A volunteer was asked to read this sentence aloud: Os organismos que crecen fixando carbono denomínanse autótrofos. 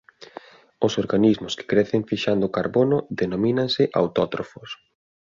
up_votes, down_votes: 2, 0